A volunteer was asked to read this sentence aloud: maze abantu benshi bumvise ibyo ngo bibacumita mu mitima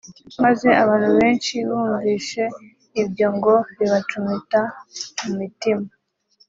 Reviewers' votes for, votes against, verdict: 1, 2, rejected